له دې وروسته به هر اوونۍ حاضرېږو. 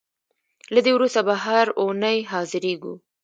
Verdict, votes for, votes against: rejected, 1, 2